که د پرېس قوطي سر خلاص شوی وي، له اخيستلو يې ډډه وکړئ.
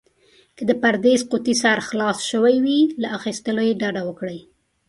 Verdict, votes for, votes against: rejected, 1, 2